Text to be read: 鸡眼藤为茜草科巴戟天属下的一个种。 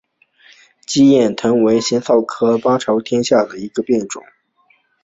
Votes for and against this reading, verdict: 2, 1, accepted